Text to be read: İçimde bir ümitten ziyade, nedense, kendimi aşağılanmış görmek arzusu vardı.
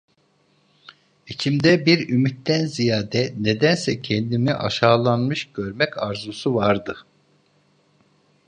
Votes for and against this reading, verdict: 2, 0, accepted